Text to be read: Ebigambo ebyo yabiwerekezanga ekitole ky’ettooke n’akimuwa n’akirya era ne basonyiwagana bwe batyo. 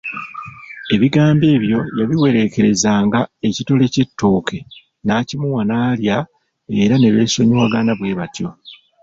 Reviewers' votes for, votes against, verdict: 0, 2, rejected